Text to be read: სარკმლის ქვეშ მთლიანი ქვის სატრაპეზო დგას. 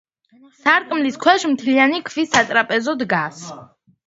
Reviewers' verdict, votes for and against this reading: accepted, 2, 0